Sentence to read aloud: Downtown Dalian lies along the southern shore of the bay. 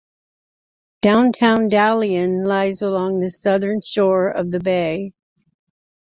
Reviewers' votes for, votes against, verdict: 2, 0, accepted